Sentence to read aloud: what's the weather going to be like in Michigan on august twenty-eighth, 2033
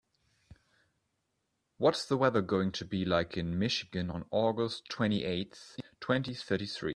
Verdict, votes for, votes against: rejected, 0, 2